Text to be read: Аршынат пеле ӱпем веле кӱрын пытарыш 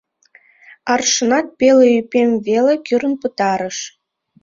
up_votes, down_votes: 2, 1